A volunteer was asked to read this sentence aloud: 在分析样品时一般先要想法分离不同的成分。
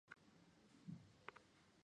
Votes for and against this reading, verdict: 0, 4, rejected